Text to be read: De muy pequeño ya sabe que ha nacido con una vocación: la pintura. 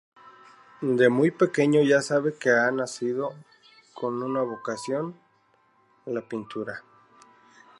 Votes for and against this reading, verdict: 2, 0, accepted